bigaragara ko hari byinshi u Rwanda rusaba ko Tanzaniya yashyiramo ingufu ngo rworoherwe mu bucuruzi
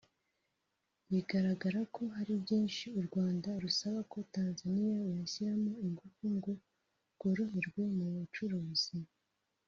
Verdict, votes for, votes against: rejected, 0, 2